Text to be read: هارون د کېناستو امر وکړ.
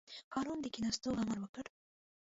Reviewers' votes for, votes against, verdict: 2, 0, accepted